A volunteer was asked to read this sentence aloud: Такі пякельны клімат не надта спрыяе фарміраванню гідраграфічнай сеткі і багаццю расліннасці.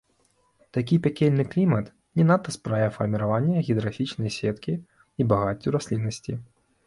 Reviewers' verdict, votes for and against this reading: rejected, 1, 2